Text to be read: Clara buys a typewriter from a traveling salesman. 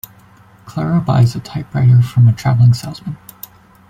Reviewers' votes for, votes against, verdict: 2, 0, accepted